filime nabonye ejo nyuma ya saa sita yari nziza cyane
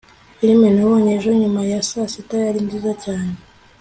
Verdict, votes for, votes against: accepted, 2, 0